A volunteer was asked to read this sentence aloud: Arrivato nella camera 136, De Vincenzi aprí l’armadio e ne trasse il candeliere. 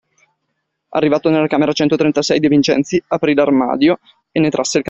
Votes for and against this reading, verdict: 0, 2, rejected